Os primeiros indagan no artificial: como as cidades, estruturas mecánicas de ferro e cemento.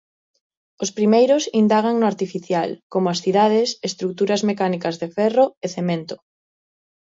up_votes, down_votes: 2, 0